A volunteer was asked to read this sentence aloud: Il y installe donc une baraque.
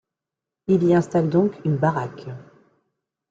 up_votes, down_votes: 2, 0